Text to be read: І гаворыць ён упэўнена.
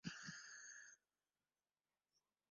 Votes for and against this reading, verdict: 0, 2, rejected